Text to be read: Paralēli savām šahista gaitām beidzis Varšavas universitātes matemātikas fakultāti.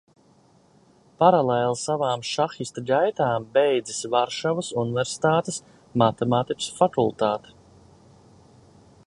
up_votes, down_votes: 2, 0